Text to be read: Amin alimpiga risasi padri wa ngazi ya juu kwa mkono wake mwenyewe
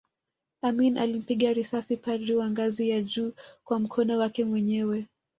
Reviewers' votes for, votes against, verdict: 2, 0, accepted